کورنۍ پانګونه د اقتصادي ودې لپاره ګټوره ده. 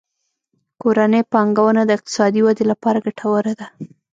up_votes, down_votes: 0, 2